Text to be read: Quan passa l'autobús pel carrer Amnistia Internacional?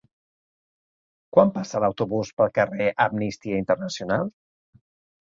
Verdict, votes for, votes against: accepted, 3, 1